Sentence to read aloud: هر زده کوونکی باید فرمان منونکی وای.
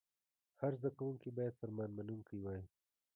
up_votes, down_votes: 1, 2